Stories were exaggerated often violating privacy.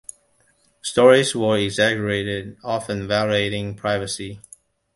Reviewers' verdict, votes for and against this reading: accepted, 2, 0